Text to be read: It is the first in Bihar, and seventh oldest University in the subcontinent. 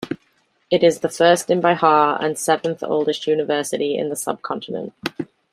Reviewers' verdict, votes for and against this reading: accepted, 2, 0